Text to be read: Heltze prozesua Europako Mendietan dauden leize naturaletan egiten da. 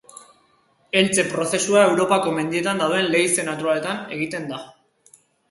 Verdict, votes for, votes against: accepted, 2, 0